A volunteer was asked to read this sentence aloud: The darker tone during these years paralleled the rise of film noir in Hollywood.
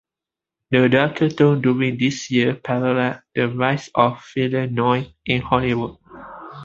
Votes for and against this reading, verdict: 1, 2, rejected